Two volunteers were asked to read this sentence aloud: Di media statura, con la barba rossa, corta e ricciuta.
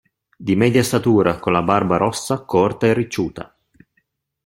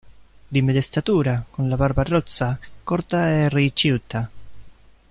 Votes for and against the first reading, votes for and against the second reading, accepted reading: 2, 0, 1, 2, first